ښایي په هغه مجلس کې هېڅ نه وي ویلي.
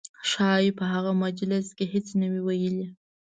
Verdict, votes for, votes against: accepted, 2, 0